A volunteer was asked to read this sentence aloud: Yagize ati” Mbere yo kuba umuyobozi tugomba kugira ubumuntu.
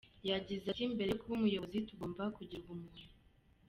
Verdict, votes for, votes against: accepted, 2, 0